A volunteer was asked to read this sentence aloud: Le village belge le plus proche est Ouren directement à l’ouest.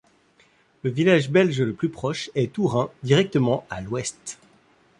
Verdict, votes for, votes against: accepted, 2, 0